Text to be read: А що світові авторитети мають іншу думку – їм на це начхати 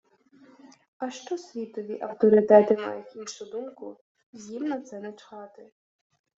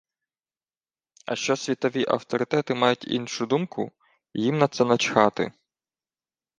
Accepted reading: second